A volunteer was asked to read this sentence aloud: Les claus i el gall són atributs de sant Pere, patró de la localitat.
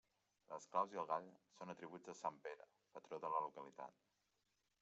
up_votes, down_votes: 2, 1